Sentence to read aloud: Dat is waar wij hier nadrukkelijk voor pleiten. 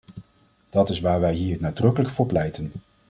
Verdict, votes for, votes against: accepted, 2, 0